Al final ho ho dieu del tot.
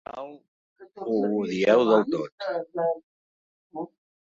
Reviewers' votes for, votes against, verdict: 0, 2, rejected